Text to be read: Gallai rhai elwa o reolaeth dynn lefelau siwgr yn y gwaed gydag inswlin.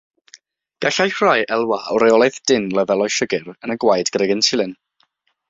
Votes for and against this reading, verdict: 6, 0, accepted